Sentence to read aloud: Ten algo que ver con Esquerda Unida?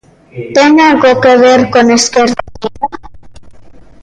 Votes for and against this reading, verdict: 0, 2, rejected